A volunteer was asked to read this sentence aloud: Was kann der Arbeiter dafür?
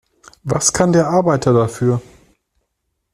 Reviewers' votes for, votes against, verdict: 2, 0, accepted